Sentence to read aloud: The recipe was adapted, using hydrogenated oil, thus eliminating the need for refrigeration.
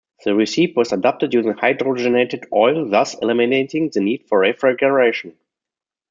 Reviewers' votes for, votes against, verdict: 2, 1, accepted